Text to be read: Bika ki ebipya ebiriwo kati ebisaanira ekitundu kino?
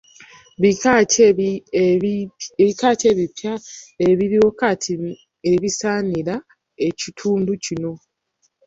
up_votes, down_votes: 0, 2